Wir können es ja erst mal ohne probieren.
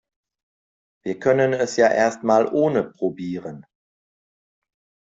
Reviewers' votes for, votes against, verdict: 2, 0, accepted